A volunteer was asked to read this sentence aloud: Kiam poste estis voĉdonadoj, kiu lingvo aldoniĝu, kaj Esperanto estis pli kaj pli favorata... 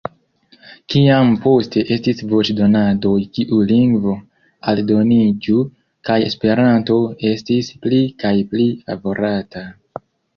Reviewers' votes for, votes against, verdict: 2, 0, accepted